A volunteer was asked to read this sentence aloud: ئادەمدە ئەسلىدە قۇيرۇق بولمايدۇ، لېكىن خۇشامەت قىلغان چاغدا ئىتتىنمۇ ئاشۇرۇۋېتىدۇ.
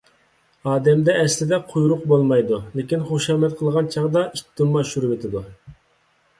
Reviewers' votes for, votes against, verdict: 2, 0, accepted